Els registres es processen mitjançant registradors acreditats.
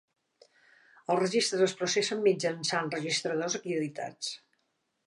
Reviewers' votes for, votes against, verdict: 2, 0, accepted